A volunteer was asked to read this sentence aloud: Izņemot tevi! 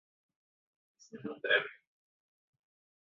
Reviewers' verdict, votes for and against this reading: rejected, 1, 2